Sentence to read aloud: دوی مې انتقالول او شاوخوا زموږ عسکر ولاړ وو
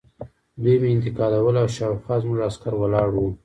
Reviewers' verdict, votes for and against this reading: accepted, 2, 0